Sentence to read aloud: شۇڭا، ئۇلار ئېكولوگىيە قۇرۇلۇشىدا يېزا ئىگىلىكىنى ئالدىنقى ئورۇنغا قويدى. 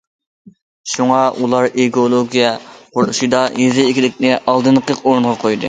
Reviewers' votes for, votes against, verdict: 2, 1, accepted